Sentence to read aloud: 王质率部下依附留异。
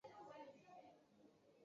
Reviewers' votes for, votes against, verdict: 1, 5, rejected